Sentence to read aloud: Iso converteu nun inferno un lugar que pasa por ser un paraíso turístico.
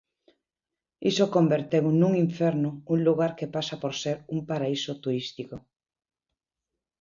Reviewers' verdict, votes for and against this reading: accepted, 2, 0